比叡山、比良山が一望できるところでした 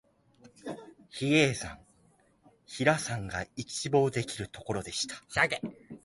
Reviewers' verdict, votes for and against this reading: rejected, 3, 3